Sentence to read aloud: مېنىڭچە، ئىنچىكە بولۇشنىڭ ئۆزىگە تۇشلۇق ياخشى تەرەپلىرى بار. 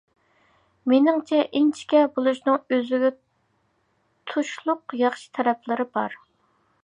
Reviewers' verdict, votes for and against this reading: accepted, 2, 0